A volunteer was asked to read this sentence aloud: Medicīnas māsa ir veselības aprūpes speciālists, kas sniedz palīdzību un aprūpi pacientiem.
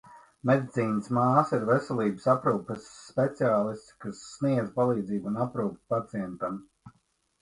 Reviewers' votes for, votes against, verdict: 1, 2, rejected